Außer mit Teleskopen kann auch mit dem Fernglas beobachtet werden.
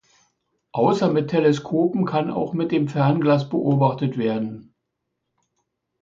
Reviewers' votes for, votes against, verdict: 2, 0, accepted